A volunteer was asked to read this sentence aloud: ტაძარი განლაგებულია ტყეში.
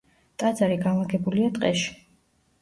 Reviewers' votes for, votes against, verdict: 2, 0, accepted